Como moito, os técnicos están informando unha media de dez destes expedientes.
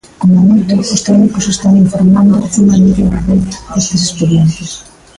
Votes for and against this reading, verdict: 0, 2, rejected